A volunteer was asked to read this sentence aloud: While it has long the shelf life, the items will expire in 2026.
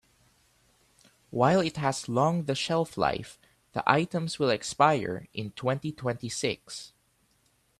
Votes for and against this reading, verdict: 0, 2, rejected